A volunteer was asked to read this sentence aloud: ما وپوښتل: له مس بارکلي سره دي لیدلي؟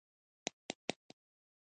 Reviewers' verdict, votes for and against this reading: rejected, 0, 2